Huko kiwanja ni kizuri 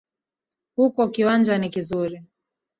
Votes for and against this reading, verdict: 0, 2, rejected